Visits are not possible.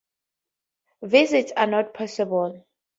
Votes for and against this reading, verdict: 2, 0, accepted